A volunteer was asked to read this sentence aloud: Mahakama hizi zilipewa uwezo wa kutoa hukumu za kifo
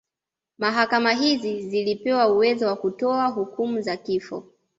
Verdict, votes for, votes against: accepted, 2, 0